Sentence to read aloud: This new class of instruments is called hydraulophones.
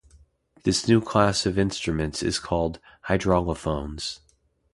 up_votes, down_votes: 2, 0